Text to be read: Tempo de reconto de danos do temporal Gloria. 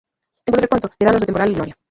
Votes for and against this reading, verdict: 0, 2, rejected